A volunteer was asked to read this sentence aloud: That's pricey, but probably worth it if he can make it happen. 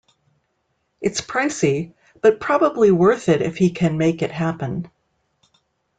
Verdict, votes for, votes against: rejected, 0, 2